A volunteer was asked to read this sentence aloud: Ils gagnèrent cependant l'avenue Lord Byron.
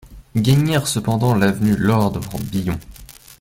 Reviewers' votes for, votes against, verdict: 1, 2, rejected